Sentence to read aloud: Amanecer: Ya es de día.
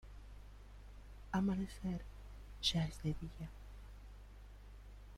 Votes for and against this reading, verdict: 2, 0, accepted